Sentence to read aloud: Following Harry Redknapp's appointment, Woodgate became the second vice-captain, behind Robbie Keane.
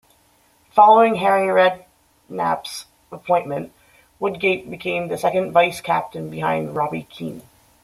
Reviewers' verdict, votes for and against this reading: rejected, 1, 2